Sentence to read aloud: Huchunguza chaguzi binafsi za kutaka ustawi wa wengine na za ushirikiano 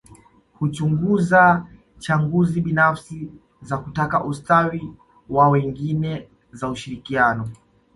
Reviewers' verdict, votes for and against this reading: accepted, 2, 1